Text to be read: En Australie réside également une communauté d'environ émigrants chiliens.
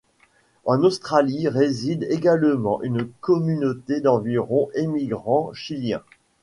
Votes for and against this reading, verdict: 2, 0, accepted